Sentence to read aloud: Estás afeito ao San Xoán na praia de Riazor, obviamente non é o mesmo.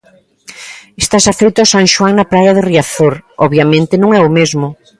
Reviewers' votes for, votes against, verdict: 2, 0, accepted